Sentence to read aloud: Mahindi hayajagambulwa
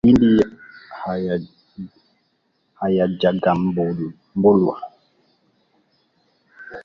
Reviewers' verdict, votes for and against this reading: rejected, 0, 2